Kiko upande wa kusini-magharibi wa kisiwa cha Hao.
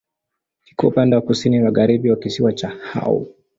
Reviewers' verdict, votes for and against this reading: accepted, 2, 0